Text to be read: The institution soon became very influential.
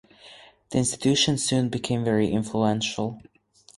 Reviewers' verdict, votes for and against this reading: accepted, 4, 0